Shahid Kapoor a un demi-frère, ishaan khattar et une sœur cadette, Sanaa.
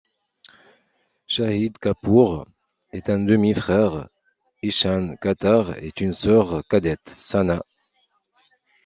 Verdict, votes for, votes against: rejected, 1, 2